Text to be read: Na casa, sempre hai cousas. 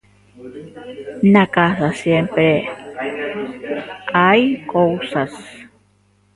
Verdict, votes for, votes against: rejected, 0, 2